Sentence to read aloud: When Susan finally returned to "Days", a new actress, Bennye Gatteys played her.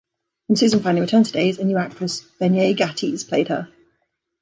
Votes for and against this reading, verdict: 3, 0, accepted